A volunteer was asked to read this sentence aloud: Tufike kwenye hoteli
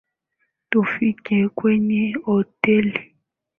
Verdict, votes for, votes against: accepted, 2, 0